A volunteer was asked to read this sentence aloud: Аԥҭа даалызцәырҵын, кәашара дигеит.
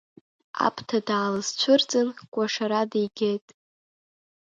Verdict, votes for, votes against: accepted, 3, 0